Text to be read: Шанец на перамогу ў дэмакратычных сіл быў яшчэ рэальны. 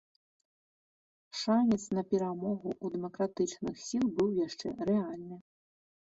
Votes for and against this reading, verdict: 2, 0, accepted